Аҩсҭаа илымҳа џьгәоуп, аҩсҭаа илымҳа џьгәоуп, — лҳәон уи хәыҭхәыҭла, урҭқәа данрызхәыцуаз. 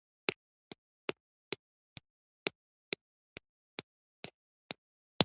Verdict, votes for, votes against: rejected, 1, 2